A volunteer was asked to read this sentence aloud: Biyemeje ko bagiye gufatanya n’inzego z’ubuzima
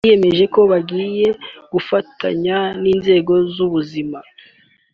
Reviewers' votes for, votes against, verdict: 3, 0, accepted